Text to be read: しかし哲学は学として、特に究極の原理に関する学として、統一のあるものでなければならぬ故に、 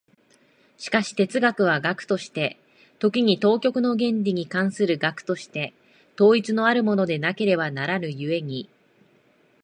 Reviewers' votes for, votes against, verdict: 0, 2, rejected